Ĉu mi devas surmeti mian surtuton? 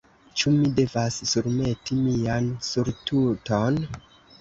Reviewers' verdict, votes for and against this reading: accepted, 2, 0